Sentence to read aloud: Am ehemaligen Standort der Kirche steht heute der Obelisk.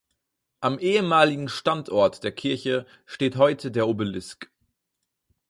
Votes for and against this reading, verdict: 4, 0, accepted